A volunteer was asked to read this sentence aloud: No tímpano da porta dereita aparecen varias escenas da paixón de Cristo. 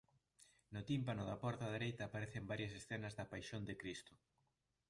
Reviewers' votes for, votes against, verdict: 2, 0, accepted